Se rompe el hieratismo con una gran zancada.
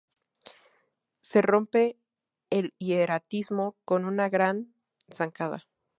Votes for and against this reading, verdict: 2, 0, accepted